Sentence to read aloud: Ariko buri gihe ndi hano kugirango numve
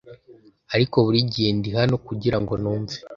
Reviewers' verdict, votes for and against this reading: accepted, 2, 0